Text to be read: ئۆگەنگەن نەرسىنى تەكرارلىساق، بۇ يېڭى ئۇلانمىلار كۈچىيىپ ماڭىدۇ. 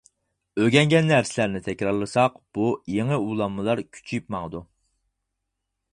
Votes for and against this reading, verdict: 0, 4, rejected